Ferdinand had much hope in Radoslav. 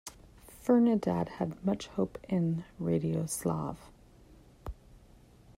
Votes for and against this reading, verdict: 1, 2, rejected